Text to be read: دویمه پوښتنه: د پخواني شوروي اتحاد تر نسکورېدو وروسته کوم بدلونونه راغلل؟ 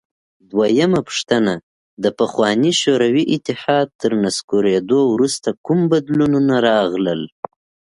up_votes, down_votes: 2, 0